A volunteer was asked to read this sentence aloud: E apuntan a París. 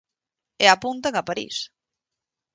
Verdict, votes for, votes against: accepted, 6, 0